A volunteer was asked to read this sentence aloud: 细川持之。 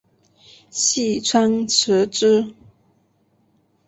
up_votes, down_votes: 2, 0